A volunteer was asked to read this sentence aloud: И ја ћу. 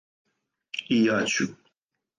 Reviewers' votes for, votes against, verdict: 4, 2, accepted